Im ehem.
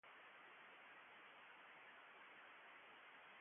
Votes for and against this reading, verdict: 0, 2, rejected